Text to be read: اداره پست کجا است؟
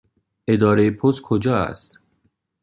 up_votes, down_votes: 2, 0